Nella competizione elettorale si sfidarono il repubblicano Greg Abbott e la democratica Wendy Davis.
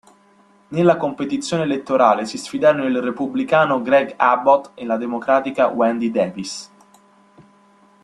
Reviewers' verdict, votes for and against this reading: accepted, 2, 0